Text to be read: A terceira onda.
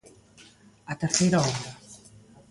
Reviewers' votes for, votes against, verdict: 2, 0, accepted